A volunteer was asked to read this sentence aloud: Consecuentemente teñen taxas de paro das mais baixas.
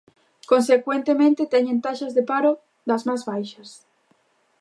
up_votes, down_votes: 1, 2